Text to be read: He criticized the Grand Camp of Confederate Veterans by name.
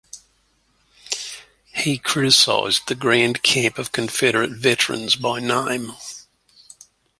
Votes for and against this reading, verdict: 2, 0, accepted